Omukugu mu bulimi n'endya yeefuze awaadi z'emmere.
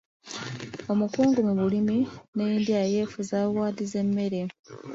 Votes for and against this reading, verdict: 1, 2, rejected